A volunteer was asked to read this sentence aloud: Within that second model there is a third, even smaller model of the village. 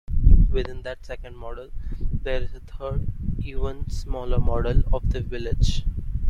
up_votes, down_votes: 2, 0